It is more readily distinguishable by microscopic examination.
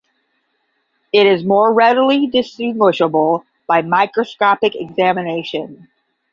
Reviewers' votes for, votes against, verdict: 10, 0, accepted